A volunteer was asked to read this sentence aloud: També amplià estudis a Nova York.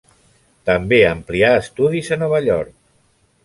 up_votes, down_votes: 3, 0